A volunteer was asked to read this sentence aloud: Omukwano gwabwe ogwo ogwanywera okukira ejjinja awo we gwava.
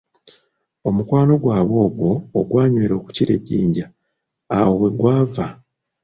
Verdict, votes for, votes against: accepted, 2, 0